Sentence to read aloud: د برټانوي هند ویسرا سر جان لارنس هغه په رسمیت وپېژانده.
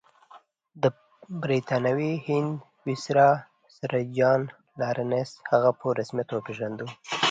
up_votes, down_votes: 0, 2